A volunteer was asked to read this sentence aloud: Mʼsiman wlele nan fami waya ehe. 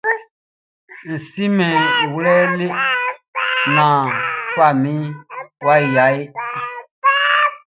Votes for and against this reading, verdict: 1, 2, rejected